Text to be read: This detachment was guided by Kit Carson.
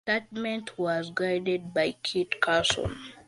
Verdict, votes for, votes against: rejected, 1, 2